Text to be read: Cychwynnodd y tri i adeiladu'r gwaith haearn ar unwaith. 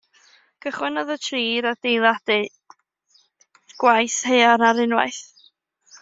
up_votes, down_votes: 2, 0